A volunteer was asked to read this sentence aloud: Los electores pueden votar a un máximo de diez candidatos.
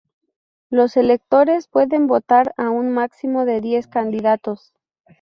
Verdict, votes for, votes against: accepted, 2, 0